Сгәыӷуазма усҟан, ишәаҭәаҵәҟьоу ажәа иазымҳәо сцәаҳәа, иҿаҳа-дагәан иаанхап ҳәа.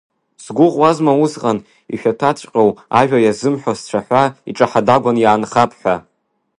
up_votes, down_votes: 2, 0